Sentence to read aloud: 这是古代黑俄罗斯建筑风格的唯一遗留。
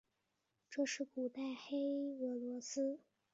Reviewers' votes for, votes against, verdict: 1, 2, rejected